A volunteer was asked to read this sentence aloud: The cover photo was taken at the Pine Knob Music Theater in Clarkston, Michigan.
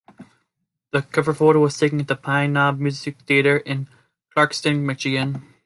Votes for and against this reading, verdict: 2, 0, accepted